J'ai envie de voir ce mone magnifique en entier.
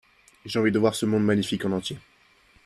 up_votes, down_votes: 2, 0